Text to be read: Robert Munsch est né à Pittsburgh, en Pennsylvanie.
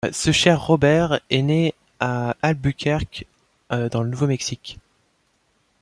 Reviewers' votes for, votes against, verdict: 1, 2, rejected